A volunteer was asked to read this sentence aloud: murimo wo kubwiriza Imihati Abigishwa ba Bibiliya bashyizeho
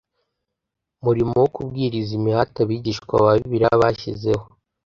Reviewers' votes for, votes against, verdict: 2, 0, accepted